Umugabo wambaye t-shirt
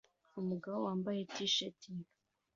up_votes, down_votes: 2, 0